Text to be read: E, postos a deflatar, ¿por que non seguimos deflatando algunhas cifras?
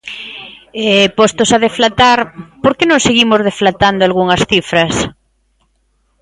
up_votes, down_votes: 2, 0